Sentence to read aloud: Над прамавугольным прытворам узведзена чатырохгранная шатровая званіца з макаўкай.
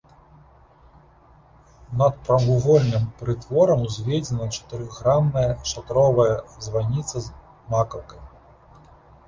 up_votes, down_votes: 2, 1